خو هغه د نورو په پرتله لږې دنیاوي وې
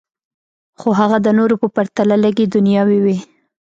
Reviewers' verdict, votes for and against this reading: accepted, 2, 0